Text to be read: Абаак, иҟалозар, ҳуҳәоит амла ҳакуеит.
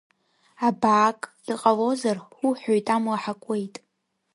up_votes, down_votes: 2, 1